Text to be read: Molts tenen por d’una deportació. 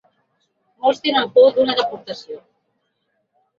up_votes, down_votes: 2, 0